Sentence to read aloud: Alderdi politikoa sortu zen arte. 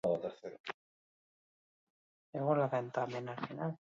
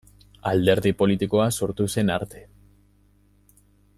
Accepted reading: second